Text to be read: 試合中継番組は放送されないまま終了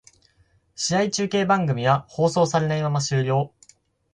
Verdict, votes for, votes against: accepted, 4, 0